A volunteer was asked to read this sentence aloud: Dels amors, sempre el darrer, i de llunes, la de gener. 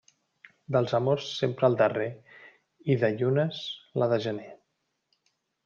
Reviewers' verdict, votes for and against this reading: accepted, 2, 0